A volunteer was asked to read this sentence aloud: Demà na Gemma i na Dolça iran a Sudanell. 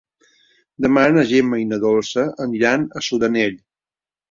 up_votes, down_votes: 1, 3